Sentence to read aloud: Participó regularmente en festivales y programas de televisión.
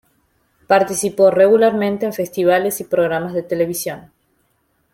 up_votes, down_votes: 2, 0